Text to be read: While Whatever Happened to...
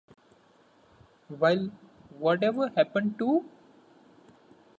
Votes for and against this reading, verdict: 2, 0, accepted